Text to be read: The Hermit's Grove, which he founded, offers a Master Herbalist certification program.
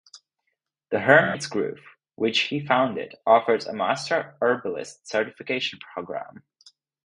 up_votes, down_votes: 4, 0